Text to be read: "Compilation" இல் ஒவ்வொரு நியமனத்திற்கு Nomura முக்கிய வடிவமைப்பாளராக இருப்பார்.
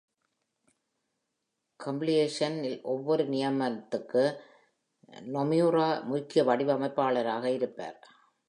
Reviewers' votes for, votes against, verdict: 1, 2, rejected